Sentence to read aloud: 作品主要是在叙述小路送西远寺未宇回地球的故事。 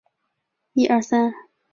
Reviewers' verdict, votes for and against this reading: rejected, 0, 6